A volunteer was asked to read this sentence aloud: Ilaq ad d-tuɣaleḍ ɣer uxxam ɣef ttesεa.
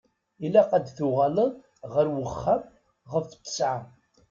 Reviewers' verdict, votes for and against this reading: accepted, 2, 0